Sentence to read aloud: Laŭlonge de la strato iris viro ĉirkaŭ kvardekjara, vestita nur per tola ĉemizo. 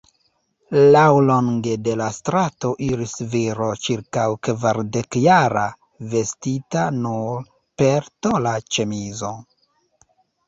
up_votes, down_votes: 2, 0